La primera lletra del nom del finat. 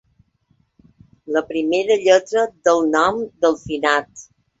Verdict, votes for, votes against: accepted, 4, 0